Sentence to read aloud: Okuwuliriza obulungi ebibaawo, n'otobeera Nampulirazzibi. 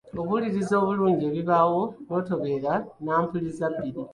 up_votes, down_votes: 1, 2